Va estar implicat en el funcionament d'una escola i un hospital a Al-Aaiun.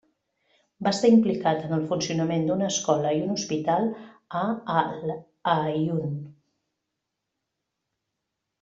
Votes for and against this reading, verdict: 0, 3, rejected